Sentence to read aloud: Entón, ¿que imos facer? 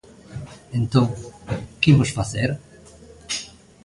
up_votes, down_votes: 2, 0